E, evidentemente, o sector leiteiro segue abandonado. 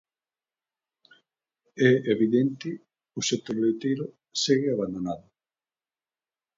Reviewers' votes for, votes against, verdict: 0, 2, rejected